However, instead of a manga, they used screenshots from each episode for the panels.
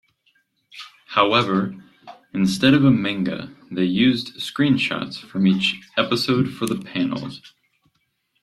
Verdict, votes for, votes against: accepted, 2, 0